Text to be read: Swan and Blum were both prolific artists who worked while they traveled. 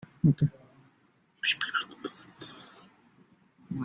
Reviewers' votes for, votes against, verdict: 0, 2, rejected